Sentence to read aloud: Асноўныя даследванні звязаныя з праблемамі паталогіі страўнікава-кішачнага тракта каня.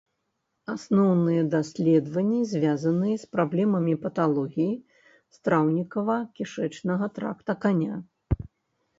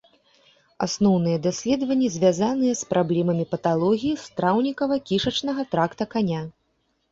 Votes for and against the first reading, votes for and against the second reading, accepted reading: 1, 2, 2, 0, second